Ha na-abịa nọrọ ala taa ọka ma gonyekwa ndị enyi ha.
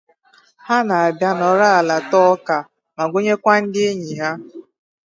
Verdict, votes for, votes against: rejected, 0, 2